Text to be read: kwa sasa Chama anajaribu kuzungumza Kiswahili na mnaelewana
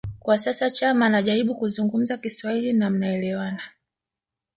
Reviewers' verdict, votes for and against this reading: rejected, 1, 2